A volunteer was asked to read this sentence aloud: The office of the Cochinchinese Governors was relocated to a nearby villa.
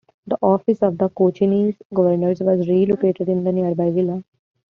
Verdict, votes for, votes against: rejected, 1, 2